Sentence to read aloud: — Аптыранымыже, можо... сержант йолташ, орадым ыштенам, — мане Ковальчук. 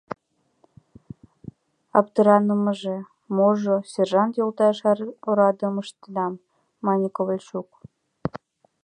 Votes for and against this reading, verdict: 1, 2, rejected